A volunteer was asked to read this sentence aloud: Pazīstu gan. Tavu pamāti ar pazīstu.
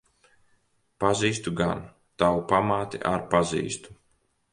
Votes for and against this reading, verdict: 2, 0, accepted